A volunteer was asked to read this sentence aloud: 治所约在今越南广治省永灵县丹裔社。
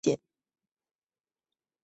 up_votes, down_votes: 0, 2